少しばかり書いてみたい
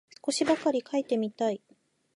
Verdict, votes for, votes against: accepted, 2, 0